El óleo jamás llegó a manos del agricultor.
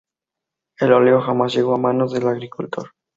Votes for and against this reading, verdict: 2, 2, rejected